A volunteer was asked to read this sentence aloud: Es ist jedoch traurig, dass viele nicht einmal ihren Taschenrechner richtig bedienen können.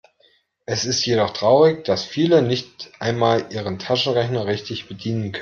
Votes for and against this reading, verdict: 0, 2, rejected